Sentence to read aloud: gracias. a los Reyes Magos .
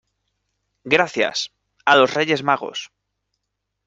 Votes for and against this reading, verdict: 2, 0, accepted